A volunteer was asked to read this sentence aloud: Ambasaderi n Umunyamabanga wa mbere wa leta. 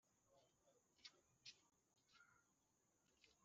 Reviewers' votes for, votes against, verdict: 0, 3, rejected